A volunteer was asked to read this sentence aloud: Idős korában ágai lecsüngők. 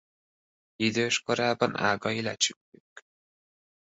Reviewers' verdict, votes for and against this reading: rejected, 0, 2